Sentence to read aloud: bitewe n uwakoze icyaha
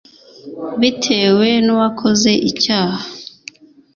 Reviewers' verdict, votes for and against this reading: accepted, 2, 0